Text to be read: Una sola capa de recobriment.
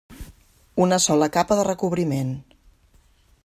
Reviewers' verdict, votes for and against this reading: accepted, 3, 0